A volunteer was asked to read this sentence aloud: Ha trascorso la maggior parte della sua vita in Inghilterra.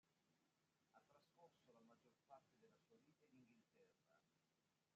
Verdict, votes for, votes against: rejected, 0, 2